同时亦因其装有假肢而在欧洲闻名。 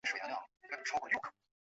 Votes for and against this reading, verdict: 0, 6, rejected